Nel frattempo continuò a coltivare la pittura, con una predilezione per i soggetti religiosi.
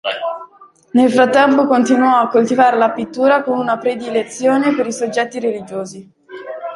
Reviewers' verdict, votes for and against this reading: accepted, 2, 0